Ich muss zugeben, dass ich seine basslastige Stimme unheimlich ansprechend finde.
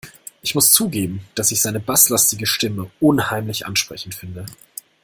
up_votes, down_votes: 2, 0